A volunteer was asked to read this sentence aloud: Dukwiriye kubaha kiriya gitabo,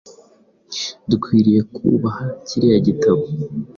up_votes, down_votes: 2, 0